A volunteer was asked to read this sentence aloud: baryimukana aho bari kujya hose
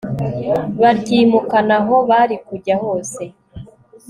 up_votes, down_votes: 3, 0